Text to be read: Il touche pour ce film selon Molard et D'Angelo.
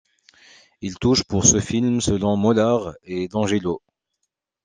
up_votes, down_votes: 1, 2